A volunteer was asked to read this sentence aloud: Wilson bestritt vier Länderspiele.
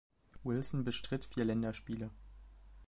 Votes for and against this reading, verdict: 2, 0, accepted